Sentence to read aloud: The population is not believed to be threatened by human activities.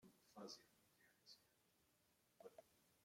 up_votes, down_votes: 0, 2